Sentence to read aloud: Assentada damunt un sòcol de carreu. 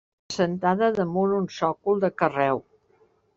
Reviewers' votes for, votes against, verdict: 0, 2, rejected